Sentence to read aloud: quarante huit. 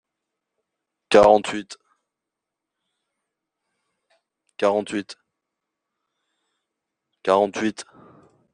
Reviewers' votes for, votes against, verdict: 0, 2, rejected